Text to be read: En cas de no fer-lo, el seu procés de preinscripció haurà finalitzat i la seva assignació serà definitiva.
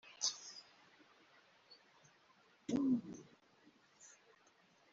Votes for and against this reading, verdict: 1, 2, rejected